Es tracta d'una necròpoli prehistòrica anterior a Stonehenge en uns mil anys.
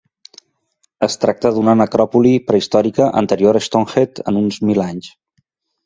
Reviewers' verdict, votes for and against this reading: rejected, 0, 2